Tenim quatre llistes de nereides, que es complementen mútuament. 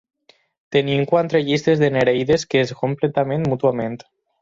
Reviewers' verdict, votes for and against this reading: rejected, 2, 4